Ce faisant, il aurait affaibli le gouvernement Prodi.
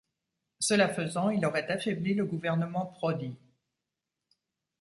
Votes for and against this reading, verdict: 1, 2, rejected